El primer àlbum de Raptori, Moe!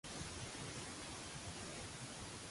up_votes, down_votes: 1, 2